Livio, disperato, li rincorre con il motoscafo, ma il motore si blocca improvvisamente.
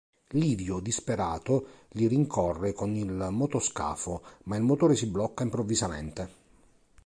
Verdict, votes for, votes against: accepted, 2, 0